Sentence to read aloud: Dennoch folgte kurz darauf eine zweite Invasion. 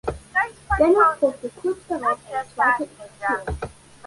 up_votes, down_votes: 1, 2